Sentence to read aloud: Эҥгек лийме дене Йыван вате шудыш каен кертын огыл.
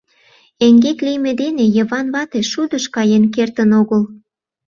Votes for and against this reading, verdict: 2, 0, accepted